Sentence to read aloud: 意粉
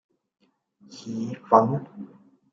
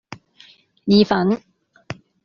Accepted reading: second